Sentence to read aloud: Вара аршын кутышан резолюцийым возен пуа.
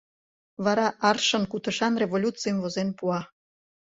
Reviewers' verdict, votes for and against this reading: rejected, 1, 2